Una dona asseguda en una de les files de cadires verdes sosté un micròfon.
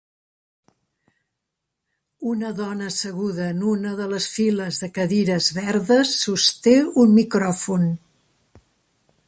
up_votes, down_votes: 3, 0